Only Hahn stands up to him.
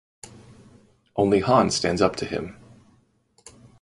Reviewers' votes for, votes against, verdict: 2, 0, accepted